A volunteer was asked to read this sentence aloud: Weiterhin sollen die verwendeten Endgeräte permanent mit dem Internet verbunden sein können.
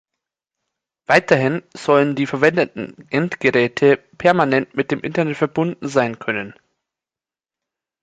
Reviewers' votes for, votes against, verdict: 2, 0, accepted